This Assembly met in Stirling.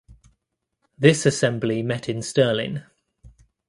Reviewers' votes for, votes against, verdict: 2, 0, accepted